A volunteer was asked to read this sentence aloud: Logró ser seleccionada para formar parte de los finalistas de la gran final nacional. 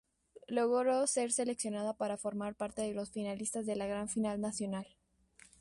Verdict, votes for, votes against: accepted, 2, 0